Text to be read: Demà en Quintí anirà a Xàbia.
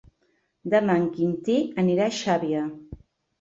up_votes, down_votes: 3, 0